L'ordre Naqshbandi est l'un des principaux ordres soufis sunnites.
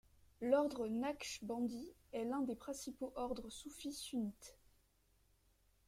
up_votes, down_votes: 3, 1